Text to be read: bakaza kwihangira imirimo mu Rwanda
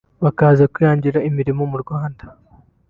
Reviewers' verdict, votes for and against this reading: accepted, 2, 0